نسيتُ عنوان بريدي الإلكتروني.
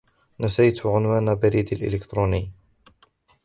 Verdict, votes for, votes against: rejected, 0, 2